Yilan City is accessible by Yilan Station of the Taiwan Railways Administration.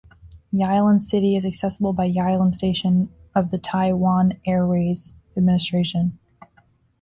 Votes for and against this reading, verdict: 0, 2, rejected